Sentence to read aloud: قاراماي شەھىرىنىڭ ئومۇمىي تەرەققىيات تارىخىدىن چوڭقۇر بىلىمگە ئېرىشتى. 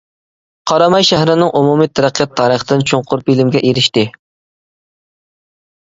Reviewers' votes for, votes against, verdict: 0, 2, rejected